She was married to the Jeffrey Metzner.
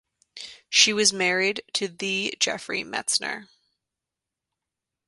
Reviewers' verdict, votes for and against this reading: accepted, 3, 0